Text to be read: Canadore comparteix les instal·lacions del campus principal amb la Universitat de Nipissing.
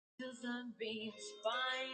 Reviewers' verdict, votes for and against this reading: rejected, 0, 2